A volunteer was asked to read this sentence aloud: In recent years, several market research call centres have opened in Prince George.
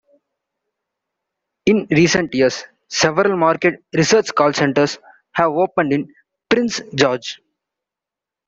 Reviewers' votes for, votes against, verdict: 1, 2, rejected